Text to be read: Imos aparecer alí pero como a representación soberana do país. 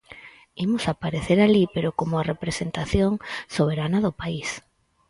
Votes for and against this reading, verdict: 4, 0, accepted